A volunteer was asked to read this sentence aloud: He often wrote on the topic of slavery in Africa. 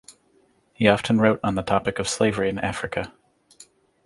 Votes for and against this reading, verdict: 2, 0, accepted